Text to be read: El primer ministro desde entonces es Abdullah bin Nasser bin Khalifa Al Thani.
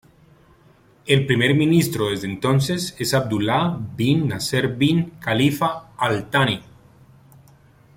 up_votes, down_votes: 2, 0